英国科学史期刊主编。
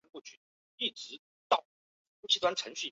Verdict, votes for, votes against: rejected, 0, 2